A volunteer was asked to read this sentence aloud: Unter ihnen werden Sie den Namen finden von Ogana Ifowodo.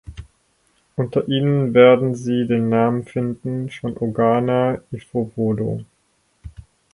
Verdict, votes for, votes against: accepted, 4, 0